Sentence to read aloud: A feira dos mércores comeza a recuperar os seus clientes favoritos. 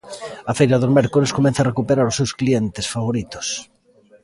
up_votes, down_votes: 2, 0